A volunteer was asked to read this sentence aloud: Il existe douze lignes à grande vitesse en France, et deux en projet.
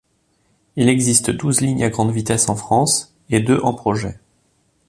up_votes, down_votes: 3, 0